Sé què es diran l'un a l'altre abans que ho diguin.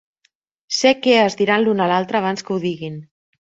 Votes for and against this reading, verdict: 3, 0, accepted